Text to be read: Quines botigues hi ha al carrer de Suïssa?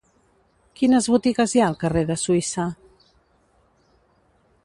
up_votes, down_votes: 2, 0